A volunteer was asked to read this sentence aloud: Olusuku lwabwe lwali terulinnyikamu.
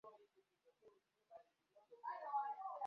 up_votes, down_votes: 1, 2